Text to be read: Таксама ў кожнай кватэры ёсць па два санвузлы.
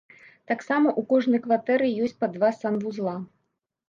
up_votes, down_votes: 0, 2